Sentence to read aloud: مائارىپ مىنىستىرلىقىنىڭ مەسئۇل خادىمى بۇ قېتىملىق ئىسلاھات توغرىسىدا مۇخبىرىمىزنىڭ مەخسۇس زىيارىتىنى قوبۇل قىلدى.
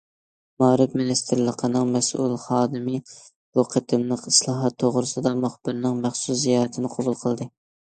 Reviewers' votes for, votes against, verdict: 0, 2, rejected